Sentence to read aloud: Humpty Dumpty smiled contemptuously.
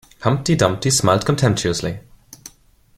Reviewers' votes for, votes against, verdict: 2, 0, accepted